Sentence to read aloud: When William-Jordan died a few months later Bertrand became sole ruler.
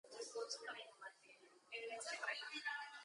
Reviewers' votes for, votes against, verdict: 0, 4, rejected